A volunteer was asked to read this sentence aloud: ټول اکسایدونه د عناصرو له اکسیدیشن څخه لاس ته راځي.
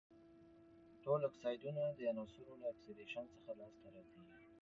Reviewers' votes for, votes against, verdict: 2, 0, accepted